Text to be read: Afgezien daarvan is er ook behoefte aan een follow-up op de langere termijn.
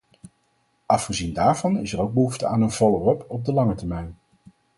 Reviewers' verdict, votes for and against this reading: rejected, 2, 4